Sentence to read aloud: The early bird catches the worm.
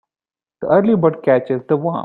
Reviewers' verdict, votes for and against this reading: rejected, 1, 2